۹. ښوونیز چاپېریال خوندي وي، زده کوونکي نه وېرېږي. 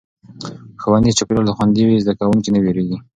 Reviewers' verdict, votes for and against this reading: rejected, 0, 2